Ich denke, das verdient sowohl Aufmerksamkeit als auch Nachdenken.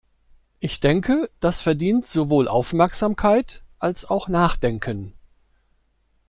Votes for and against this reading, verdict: 2, 0, accepted